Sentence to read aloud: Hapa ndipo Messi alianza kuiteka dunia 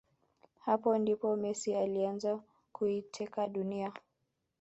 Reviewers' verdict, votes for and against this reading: accepted, 2, 0